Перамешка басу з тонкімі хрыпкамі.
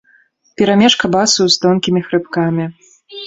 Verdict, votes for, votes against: accepted, 3, 0